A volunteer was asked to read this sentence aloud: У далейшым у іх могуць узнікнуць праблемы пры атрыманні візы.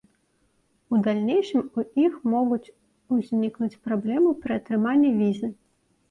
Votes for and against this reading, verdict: 1, 2, rejected